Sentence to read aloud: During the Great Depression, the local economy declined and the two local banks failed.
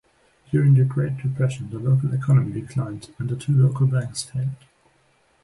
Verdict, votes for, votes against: rejected, 1, 2